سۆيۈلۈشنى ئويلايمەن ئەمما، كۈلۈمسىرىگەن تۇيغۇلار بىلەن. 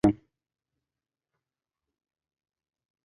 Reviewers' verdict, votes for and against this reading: rejected, 0, 2